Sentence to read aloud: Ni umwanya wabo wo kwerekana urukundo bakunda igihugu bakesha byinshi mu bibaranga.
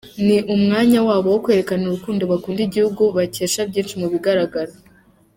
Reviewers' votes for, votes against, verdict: 1, 2, rejected